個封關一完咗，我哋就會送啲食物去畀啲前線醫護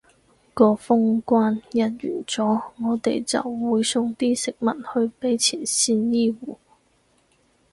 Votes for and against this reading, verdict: 2, 4, rejected